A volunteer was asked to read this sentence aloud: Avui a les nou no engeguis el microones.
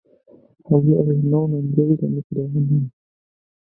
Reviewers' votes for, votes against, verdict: 2, 1, accepted